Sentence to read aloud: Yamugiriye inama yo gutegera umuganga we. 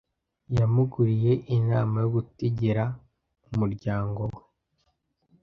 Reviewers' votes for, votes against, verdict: 0, 2, rejected